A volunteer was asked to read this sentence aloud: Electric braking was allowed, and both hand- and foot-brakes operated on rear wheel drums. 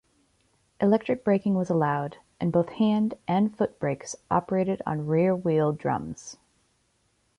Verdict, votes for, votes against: accepted, 2, 0